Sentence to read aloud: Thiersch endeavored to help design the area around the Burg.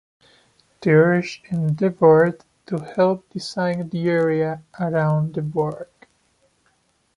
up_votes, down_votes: 1, 2